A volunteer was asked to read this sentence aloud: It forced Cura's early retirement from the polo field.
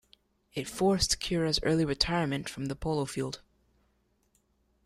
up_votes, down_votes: 2, 0